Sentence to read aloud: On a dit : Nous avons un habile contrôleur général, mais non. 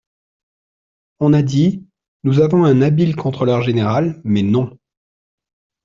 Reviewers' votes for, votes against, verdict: 2, 0, accepted